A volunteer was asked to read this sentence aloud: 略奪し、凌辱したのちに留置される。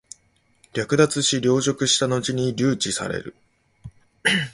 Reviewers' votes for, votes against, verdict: 2, 0, accepted